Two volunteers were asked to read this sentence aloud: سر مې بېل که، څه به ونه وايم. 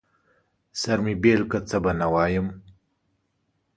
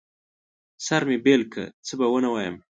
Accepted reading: second